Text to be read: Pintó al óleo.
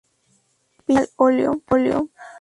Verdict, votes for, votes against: rejected, 0, 4